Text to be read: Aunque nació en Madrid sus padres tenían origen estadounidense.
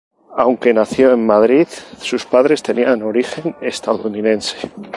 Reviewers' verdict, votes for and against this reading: rejected, 0, 2